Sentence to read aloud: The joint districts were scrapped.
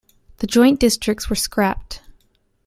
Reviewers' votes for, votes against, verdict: 2, 0, accepted